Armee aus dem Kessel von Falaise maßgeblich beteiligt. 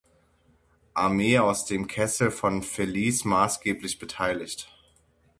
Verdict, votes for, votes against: rejected, 0, 6